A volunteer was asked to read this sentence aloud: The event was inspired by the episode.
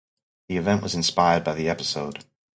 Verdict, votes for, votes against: accepted, 2, 0